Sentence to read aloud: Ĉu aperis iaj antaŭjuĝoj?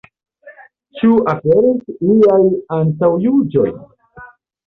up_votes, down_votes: 2, 1